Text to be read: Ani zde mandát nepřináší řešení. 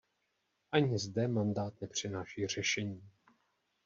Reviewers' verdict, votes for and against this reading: accepted, 2, 0